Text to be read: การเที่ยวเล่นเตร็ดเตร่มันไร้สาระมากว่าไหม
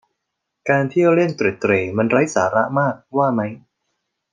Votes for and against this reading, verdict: 2, 0, accepted